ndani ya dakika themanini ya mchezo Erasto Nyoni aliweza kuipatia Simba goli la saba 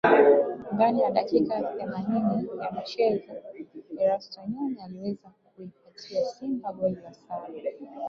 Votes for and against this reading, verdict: 1, 2, rejected